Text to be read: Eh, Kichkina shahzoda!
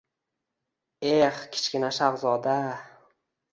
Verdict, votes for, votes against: accepted, 2, 0